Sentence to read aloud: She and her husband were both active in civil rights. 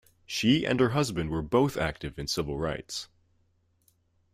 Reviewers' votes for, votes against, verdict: 2, 0, accepted